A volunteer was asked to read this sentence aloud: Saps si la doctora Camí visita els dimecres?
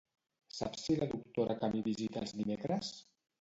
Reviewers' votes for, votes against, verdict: 0, 2, rejected